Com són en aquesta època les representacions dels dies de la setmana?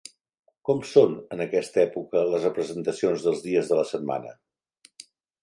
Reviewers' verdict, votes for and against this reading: accepted, 3, 0